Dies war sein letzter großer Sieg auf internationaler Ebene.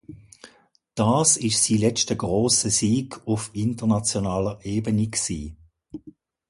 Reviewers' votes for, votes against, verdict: 0, 2, rejected